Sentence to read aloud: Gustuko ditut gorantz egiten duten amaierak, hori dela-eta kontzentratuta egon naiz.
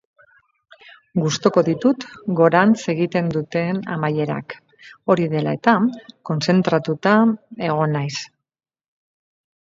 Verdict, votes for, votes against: rejected, 2, 2